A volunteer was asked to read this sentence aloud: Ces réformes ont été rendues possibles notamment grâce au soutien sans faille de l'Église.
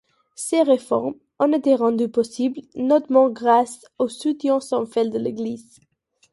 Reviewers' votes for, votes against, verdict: 0, 2, rejected